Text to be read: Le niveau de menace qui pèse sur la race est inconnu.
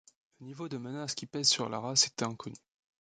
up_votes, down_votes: 1, 2